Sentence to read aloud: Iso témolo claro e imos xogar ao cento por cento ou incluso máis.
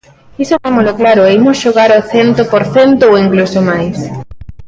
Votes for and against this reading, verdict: 2, 1, accepted